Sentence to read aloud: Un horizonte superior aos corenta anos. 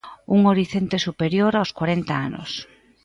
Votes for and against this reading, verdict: 0, 2, rejected